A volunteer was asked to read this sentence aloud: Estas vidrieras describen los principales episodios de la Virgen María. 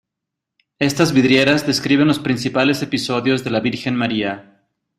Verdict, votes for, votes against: accepted, 2, 1